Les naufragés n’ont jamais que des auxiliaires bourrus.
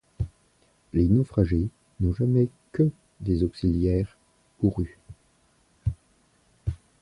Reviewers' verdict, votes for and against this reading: accepted, 2, 1